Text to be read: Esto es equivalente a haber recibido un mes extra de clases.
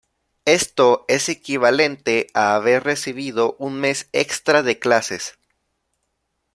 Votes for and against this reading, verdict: 2, 0, accepted